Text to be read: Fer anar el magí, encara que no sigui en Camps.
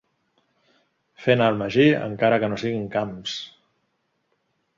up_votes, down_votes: 2, 1